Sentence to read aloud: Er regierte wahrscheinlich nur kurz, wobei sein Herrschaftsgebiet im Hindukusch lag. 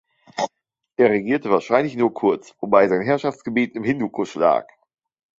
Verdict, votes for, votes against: accepted, 3, 0